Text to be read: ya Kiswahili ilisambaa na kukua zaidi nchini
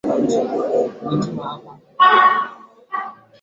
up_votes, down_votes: 1, 2